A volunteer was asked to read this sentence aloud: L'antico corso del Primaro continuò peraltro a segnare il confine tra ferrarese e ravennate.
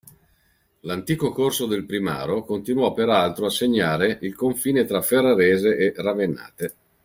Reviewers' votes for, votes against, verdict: 2, 0, accepted